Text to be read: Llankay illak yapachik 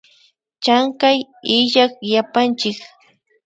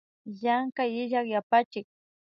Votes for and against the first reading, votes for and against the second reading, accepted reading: 0, 2, 2, 0, second